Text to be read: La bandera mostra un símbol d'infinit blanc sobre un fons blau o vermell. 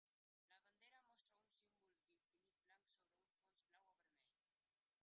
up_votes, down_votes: 1, 2